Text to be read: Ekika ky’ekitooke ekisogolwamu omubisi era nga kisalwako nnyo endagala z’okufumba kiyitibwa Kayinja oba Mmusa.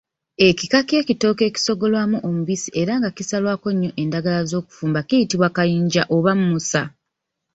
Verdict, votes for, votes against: rejected, 1, 2